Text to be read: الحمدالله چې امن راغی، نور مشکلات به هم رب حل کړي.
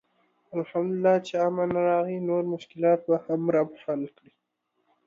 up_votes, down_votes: 2, 0